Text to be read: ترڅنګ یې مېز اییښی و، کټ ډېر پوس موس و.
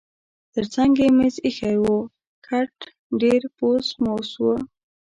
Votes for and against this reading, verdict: 2, 0, accepted